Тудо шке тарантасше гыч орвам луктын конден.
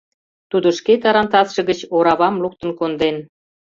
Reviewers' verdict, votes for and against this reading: rejected, 0, 2